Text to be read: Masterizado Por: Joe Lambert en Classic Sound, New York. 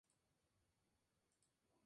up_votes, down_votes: 2, 2